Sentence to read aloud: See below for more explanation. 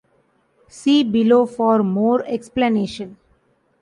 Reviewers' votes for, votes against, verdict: 2, 0, accepted